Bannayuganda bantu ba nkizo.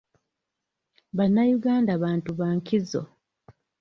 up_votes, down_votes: 2, 0